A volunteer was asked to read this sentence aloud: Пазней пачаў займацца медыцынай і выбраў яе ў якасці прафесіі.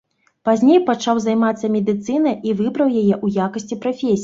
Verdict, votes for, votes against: rejected, 0, 2